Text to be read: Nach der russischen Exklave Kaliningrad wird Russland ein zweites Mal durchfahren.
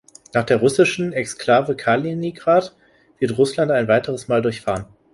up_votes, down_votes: 1, 2